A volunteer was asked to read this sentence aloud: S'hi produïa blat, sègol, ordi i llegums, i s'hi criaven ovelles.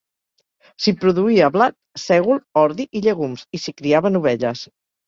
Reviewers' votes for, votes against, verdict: 2, 1, accepted